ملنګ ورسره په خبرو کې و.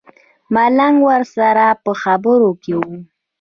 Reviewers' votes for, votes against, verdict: 1, 2, rejected